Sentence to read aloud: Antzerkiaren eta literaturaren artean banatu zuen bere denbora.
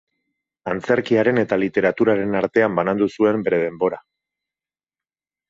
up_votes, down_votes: 2, 4